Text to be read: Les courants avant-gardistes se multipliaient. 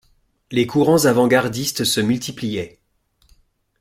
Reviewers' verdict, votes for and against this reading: accepted, 2, 0